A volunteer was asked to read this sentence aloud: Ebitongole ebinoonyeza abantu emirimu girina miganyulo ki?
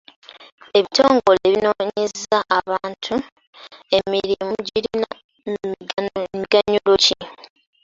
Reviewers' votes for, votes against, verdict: 0, 2, rejected